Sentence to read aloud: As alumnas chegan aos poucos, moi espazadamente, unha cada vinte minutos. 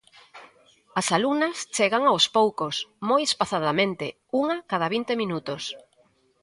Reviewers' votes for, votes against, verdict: 2, 0, accepted